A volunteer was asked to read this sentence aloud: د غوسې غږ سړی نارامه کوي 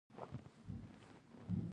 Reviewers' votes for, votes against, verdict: 0, 2, rejected